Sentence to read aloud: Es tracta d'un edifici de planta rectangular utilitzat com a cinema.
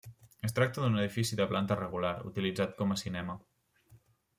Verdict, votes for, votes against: rejected, 1, 2